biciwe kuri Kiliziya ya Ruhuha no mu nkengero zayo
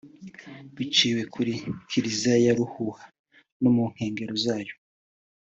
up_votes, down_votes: 2, 0